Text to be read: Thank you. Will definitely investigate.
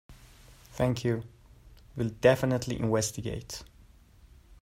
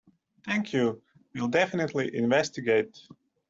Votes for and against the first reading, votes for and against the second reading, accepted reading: 2, 0, 1, 2, first